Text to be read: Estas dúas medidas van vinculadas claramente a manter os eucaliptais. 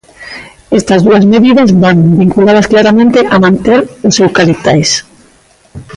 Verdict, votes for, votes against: rejected, 1, 2